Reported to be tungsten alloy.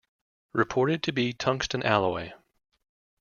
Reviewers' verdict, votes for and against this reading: accepted, 2, 0